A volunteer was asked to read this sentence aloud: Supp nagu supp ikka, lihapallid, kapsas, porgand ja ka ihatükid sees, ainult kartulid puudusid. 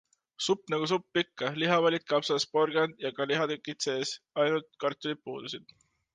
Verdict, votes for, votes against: accepted, 2, 0